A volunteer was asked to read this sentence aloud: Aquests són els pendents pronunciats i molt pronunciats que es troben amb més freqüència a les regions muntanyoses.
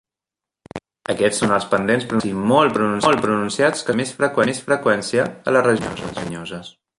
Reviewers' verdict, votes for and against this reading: rejected, 0, 2